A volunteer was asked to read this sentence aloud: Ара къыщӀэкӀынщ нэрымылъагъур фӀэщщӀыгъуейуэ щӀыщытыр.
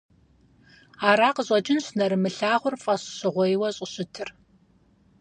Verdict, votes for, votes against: accepted, 4, 0